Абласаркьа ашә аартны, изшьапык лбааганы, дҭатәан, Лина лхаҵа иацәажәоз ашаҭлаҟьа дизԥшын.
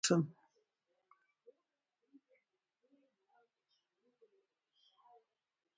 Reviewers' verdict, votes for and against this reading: rejected, 0, 2